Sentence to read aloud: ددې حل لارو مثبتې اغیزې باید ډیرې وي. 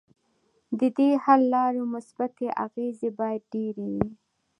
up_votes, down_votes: 2, 0